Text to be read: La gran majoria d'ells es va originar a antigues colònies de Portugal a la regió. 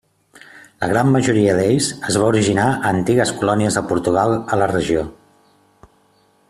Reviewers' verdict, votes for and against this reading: accepted, 3, 0